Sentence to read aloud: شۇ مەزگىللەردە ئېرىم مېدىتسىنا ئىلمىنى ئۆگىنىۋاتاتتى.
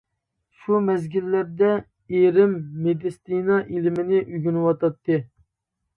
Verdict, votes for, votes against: accepted, 2, 0